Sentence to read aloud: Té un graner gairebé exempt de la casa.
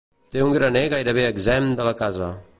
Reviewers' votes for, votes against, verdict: 2, 0, accepted